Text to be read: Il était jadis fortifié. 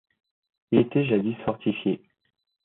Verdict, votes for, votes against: accepted, 2, 0